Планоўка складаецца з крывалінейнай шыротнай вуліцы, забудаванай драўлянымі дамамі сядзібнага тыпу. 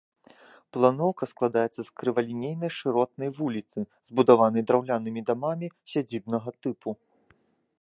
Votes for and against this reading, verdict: 2, 0, accepted